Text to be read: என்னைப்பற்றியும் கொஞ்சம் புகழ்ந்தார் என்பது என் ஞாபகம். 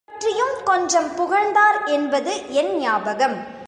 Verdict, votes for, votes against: rejected, 2, 3